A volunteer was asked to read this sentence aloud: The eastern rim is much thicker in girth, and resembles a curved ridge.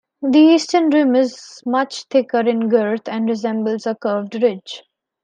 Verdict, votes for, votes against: rejected, 1, 2